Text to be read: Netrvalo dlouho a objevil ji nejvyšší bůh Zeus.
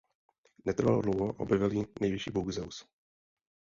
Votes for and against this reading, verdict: 0, 2, rejected